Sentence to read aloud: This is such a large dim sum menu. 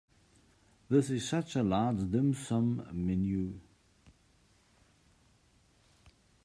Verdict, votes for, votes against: accepted, 2, 0